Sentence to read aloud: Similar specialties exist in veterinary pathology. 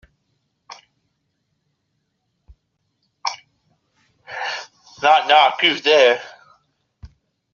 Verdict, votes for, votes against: rejected, 0, 2